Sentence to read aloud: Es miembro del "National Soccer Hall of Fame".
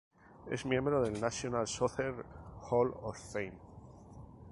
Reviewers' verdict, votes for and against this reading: accepted, 2, 0